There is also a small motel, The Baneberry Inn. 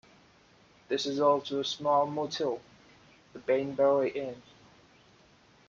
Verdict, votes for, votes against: rejected, 1, 2